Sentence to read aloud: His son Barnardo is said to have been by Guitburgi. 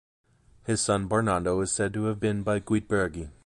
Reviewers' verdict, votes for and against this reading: accepted, 2, 1